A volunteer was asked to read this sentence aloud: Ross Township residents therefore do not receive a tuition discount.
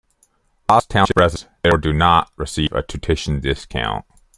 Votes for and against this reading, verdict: 0, 2, rejected